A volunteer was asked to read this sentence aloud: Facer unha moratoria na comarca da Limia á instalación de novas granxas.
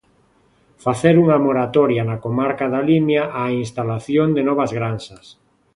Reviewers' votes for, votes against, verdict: 2, 0, accepted